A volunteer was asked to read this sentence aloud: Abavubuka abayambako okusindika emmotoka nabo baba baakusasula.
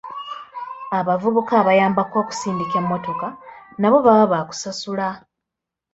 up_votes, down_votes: 2, 0